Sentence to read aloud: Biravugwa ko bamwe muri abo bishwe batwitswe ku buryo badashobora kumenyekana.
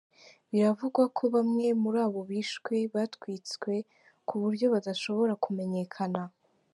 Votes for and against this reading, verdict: 3, 0, accepted